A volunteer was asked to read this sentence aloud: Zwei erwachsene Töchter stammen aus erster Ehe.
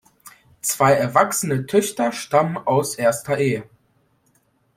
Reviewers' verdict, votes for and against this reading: accepted, 2, 0